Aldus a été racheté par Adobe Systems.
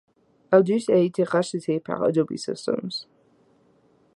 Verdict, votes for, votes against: accepted, 2, 0